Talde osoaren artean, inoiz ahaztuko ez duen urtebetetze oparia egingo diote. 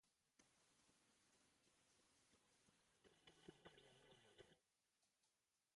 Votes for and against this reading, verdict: 0, 2, rejected